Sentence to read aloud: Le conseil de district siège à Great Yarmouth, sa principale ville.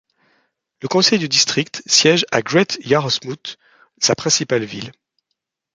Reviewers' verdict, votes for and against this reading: rejected, 1, 2